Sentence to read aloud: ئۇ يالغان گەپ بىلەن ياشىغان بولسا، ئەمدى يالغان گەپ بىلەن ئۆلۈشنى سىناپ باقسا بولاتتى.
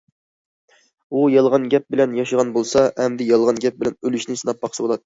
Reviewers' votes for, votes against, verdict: 0, 2, rejected